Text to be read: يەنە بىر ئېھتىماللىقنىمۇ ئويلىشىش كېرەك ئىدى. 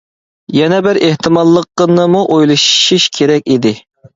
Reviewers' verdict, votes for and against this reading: rejected, 1, 2